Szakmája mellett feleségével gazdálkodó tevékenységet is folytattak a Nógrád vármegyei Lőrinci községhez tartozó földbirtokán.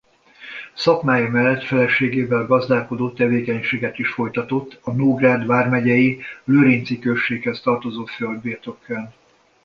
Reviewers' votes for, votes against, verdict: 1, 2, rejected